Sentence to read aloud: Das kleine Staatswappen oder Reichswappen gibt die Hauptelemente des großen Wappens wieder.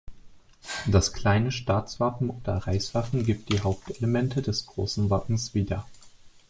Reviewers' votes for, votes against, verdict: 2, 0, accepted